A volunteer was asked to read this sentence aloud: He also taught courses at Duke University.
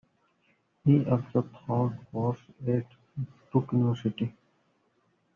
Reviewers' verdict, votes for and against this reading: rejected, 0, 2